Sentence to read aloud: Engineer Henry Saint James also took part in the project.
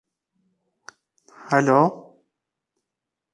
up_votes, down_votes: 0, 2